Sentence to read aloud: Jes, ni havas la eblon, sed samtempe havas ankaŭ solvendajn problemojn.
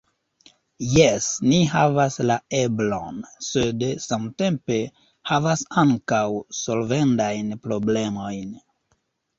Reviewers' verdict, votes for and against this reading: rejected, 0, 2